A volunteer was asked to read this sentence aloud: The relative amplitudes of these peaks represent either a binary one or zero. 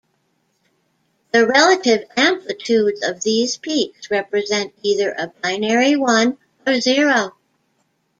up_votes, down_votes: 2, 0